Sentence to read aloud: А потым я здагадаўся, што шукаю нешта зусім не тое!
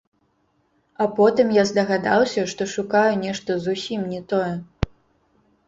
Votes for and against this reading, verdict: 0, 2, rejected